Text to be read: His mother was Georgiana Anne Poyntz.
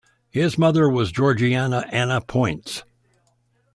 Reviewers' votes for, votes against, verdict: 1, 2, rejected